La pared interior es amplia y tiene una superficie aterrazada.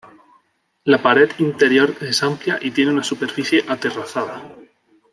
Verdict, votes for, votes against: rejected, 0, 2